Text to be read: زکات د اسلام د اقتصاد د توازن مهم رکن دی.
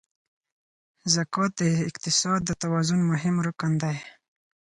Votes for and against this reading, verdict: 2, 4, rejected